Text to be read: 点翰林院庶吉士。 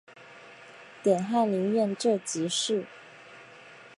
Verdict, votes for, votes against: accepted, 3, 0